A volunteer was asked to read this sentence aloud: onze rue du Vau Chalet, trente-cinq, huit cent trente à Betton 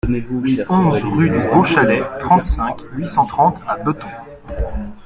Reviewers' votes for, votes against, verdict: 1, 2, rejected